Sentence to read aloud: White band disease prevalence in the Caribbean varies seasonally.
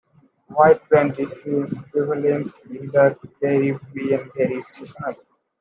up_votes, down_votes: 0, 2